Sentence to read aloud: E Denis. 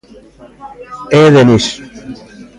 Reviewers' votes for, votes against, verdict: 1, 2, rejected